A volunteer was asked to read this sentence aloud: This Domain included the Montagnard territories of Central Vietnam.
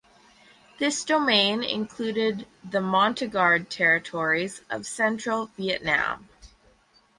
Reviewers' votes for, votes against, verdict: 2, 2, rejected